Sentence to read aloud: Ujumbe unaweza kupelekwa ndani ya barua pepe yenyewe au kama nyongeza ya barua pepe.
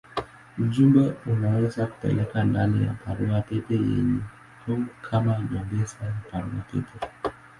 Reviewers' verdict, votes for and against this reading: rejected, 11, 12